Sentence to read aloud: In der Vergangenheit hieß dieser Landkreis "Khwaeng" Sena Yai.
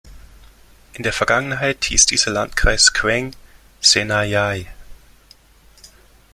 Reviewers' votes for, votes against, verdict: 2, 0, accepted